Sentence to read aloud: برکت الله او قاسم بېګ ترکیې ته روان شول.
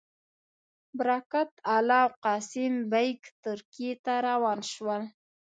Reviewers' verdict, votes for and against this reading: rejected, 1, 2